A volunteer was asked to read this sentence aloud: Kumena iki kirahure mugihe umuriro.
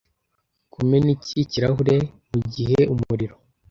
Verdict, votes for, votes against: accepted, 2, 0